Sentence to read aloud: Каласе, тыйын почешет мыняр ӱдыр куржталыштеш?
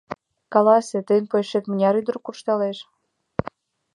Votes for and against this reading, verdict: 2, 1, accepted